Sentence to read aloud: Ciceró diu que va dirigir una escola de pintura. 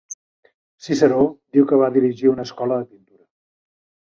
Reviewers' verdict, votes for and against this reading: rejected, 0, 2